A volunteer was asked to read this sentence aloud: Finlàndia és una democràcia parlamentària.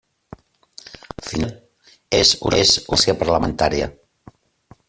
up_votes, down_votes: 0, 2